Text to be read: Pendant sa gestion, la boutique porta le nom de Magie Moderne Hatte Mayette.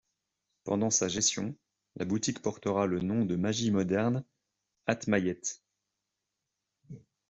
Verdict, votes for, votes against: rejected, 0, 2